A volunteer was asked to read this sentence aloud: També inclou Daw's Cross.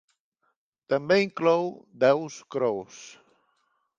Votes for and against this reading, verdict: 2, 0, accepted